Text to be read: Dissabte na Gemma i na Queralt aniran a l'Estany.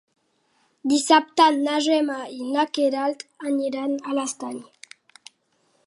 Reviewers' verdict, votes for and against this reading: accepted, 2, 0